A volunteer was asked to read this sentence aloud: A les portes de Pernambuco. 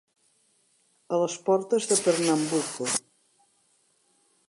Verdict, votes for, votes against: rejected, 1, 2